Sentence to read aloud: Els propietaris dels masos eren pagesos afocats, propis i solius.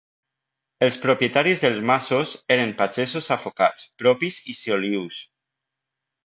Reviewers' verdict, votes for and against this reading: rejected, 0, 2